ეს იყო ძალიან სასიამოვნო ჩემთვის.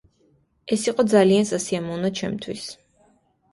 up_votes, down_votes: 2, 0